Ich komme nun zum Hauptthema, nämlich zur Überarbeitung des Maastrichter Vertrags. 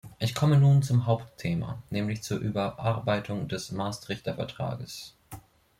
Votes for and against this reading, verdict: 2, 1, accepted